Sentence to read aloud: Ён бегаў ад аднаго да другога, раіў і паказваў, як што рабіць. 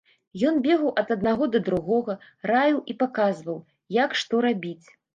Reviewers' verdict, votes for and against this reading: accepted, 2, 0